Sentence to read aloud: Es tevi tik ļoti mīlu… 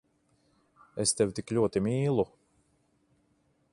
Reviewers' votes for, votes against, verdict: 2, 0, accepted